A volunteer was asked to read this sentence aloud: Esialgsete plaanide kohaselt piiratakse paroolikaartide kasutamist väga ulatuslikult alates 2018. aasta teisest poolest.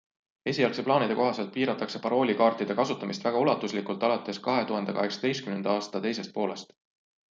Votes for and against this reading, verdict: 0, 2, rejected